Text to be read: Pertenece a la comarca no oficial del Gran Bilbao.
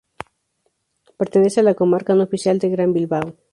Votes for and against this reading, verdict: 2, 0, accepted